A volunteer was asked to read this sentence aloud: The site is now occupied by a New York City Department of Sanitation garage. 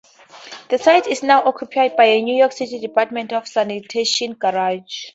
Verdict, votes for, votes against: accepted, 2, 0